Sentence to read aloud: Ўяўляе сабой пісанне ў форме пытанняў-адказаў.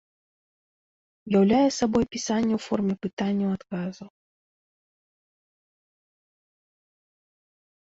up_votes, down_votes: 2, 0